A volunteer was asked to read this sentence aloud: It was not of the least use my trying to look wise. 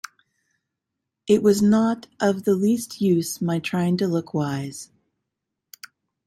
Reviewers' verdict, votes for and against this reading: accepted, 2, 0